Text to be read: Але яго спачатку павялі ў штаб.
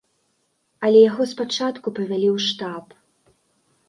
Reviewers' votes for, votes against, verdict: 1, 2, rejected